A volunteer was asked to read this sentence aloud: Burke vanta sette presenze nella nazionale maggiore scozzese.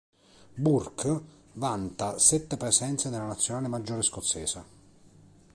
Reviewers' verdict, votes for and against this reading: accepted, 2, 1